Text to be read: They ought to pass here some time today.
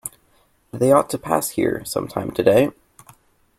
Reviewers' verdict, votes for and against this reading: accepted, 2, 0